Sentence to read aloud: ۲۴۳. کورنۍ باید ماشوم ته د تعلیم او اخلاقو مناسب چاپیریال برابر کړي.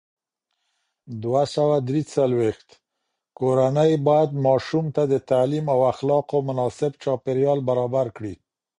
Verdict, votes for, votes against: rejected, 0, 2